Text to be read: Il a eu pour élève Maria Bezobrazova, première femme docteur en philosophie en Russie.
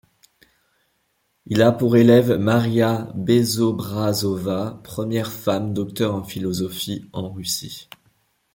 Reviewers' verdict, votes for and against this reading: rejected, 1, 2